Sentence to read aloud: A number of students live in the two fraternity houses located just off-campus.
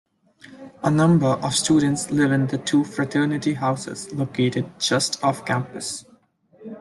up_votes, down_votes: 2, 0